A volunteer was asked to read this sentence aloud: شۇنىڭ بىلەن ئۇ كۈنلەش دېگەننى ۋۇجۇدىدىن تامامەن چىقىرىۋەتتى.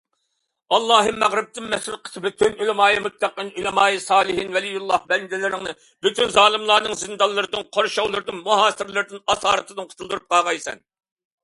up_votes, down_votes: 0, 2